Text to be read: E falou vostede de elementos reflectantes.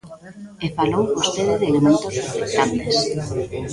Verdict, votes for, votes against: rejected, 0, 2